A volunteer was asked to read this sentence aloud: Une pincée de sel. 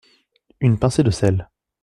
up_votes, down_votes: 2, 0